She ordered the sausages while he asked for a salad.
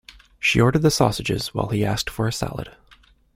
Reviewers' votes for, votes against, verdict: 2, 0, accepted